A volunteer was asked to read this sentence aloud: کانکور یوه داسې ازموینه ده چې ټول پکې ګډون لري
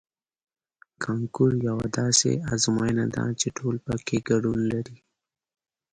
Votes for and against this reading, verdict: 2, 0, accepted